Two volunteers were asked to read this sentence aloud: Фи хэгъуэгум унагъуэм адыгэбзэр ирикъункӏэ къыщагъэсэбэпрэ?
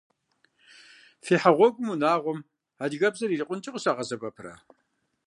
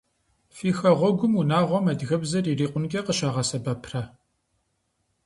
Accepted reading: second